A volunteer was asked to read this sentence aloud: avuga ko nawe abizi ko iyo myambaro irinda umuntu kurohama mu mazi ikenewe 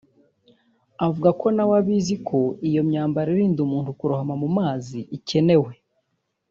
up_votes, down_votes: 1, 2